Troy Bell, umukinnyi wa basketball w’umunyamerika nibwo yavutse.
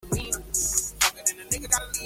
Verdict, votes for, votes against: rejected, 0, 2